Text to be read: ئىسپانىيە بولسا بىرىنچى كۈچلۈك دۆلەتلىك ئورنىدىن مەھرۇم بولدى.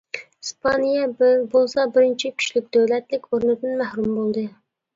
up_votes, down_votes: 1, 2